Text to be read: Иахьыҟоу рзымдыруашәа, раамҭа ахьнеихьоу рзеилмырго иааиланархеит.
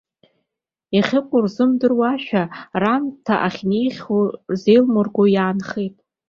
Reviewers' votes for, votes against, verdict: 1, 2, rejected